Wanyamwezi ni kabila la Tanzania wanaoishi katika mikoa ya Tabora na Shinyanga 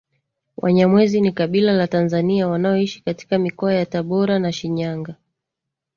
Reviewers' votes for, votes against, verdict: 2, 0, accepted